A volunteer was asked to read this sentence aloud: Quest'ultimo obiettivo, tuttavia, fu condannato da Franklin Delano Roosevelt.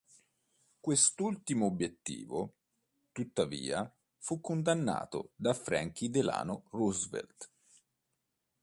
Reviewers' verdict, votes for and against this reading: accepted, 2, 0